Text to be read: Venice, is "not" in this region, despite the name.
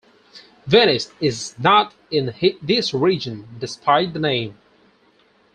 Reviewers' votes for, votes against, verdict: 2, 4, rejected